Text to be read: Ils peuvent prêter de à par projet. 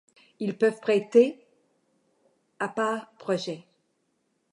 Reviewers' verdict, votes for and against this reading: rejected, 1, 2